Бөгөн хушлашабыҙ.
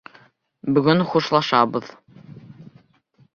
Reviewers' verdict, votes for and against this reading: accepted, 2, 0